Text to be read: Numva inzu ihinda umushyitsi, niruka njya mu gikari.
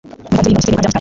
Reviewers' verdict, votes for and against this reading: rejected, 0, 2